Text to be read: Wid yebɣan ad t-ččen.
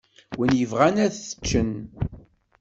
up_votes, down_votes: 2, 0